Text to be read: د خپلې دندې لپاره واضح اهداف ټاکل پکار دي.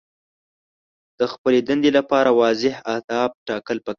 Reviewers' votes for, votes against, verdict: 0, 2, rejected